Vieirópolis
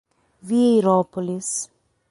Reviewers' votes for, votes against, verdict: 6, 0, accepted